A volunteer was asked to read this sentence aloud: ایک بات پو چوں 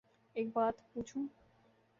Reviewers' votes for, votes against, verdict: 2, 1, accepted